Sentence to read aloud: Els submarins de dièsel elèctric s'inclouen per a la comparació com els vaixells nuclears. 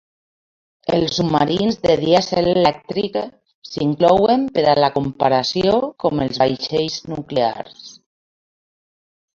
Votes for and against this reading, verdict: 0, 2, rejected